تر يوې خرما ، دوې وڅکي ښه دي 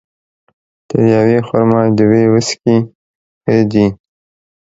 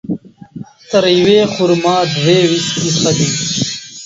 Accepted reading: first